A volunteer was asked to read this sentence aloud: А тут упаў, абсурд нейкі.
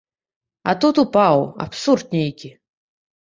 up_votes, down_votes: 2, 0